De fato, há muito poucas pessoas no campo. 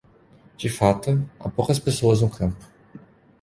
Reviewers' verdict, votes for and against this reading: rejected, 0, 2